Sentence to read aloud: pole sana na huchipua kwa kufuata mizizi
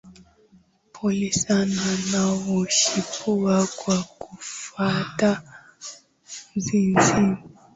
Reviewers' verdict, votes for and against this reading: accepted, 2, 0